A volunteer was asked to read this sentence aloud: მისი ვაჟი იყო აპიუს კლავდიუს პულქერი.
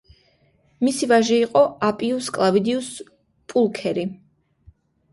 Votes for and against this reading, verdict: 0, 2, rejected